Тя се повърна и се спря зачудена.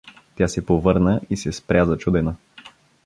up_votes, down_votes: 2, 0